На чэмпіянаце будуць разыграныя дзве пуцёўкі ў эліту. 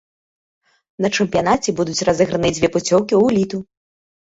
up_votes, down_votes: 2, 1